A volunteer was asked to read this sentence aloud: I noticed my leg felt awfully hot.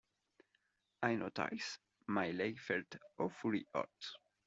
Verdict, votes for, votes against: rejected, 0, 2